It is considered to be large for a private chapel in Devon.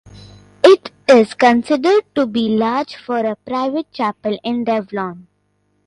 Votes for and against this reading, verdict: 0, 2, rejected